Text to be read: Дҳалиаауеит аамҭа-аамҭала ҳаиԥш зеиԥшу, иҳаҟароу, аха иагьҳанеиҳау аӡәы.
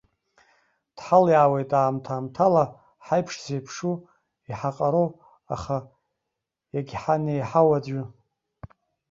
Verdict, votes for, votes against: rejected, 0, 2